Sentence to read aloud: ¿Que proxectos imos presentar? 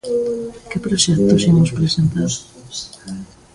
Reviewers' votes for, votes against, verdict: 0, 2, rejected